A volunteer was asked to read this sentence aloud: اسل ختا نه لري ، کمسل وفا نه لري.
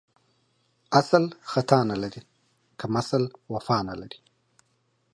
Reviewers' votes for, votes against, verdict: 4, 0, accepted